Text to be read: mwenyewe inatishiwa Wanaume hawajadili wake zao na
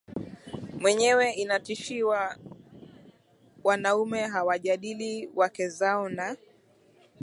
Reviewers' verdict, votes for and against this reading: accepted, 2, 0